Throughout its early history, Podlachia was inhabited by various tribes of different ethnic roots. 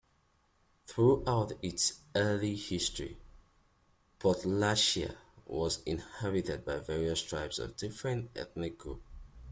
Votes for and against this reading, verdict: 2, 0, accepted